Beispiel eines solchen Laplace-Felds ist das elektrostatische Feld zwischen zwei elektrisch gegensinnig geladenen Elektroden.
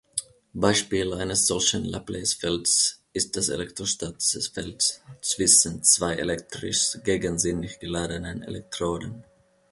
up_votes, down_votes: 1, 2